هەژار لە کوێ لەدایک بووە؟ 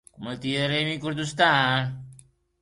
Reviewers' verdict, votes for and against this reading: rejected, 0, 2